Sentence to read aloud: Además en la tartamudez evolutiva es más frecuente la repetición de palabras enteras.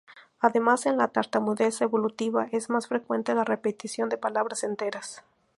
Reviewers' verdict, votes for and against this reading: accepted, 4, 0